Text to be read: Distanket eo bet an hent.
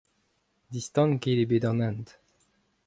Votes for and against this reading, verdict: 2, 0, accepted